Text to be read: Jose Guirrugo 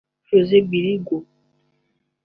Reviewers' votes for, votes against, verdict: 1, 2, rejected